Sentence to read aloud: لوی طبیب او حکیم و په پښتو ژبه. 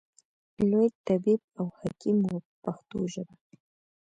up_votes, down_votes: 2, 1